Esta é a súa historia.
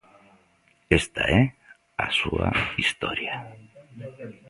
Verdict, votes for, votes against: rejected, 1, 2